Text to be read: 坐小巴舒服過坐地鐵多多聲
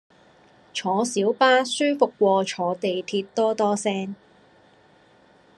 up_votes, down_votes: 2, 0